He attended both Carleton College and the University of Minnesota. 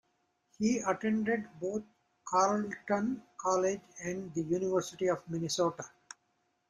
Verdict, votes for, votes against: rejected, 0, 2